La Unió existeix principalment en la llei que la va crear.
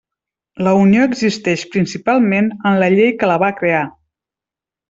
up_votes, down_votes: 3, 0